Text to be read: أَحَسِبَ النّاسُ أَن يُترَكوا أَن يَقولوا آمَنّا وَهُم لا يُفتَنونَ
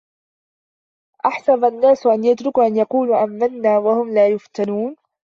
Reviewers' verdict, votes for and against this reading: rejected, 0, 2